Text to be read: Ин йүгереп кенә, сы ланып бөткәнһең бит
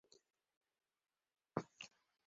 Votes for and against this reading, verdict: 0, 2, rejected